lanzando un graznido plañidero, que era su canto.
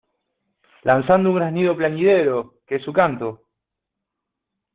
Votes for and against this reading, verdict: 1, 2, rejected